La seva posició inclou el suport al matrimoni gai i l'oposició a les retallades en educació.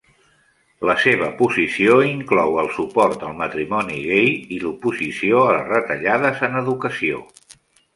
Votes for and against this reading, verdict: 3, 0, accepted